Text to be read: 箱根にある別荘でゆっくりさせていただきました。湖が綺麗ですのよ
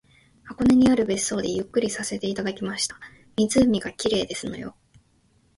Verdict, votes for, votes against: accepted, 2, 1